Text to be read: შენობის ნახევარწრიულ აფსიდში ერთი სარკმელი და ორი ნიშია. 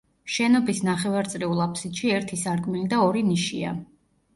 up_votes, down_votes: 2, 0